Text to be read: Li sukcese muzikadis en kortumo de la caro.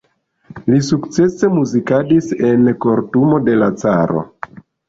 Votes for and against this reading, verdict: 0, 2, rejected